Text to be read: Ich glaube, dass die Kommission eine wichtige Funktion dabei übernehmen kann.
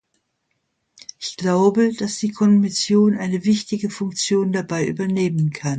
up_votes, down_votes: 2, 0